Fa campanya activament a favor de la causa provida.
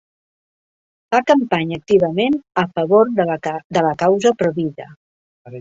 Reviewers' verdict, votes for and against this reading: rejected, 0, 2